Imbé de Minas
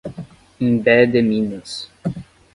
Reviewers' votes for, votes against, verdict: 5, 0, accepted